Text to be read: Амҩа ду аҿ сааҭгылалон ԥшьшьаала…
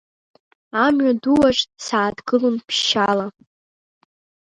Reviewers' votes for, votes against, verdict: 2, 0, accepted